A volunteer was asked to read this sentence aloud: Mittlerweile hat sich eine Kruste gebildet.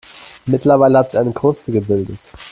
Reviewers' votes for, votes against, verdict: 0, 2, rejected